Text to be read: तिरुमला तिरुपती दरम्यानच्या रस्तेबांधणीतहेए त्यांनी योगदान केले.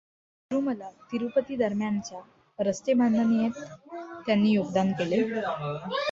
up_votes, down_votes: 2, 0